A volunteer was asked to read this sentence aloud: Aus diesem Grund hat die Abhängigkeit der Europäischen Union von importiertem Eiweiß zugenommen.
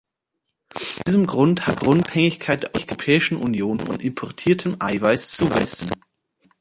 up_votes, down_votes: 0, 2